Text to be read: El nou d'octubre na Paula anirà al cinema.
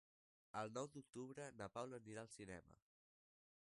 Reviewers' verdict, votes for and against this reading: accepted, 2, 1